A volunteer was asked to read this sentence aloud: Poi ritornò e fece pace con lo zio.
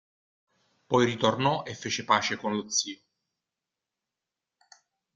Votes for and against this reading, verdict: 2, 0, accepted